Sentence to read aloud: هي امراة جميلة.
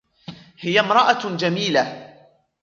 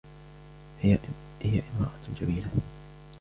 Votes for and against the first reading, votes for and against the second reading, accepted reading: 3, 0, 1, 2, first